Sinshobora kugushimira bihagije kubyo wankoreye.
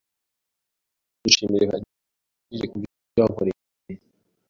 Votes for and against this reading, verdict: 0, 2, rejected